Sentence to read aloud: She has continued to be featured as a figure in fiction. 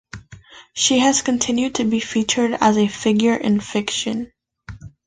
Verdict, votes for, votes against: accepted, 2, 0